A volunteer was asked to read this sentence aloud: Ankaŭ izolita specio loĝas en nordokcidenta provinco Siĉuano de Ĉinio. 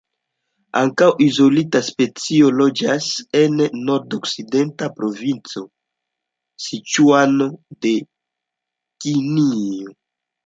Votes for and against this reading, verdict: 1, 2, rejected